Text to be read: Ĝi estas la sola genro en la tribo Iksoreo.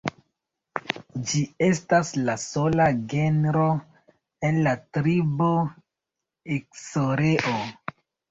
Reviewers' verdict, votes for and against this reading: rejected, 1, 2